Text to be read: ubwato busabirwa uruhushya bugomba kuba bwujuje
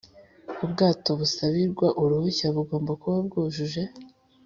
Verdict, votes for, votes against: accepted, 2, 0